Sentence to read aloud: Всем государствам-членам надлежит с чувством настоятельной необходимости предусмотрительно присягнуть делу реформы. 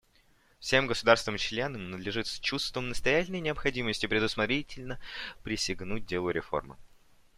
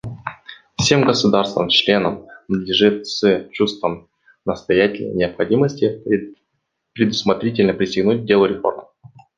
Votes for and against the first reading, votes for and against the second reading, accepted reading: 2, 0, 1, 2, first